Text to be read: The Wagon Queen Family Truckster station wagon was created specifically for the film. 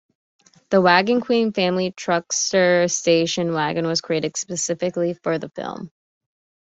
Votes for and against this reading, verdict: 2, 0, accepted